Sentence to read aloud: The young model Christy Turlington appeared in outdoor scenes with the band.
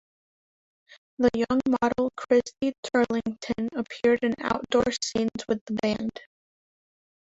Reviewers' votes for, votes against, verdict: 3, 5, rejected